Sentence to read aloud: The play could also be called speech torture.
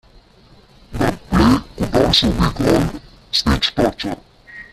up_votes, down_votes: 0, 2